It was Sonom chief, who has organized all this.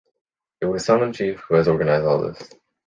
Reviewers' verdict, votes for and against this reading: accepted, 2, 1